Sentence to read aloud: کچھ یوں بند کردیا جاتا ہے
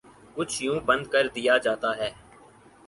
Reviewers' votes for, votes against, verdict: 4, 0, accepted